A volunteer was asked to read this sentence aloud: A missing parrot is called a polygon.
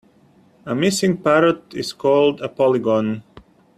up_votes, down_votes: 2, 0